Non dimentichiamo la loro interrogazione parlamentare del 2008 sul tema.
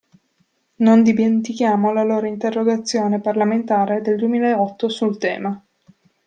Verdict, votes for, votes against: rejected, 0, 2